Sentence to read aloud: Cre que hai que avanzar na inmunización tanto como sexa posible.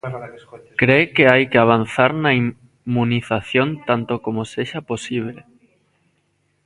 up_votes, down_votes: 0, 2